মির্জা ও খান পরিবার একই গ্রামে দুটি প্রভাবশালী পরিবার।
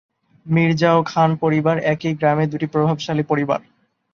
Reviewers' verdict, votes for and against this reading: accepted, 2, 0